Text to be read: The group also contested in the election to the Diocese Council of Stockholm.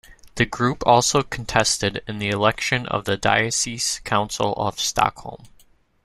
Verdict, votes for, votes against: rejected, 0, 2